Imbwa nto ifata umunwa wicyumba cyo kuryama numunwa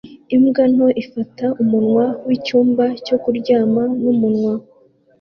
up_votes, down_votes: 2, 0